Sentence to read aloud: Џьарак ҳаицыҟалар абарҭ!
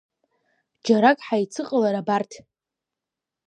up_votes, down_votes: 2, 0